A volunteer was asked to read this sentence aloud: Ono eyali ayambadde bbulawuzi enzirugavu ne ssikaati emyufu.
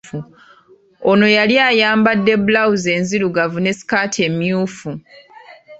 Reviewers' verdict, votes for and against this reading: rejected, 0, 2